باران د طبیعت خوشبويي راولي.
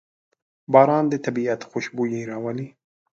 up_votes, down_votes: 2, 0